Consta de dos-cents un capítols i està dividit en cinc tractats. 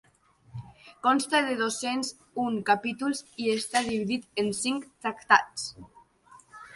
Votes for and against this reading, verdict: 2, 0, accepted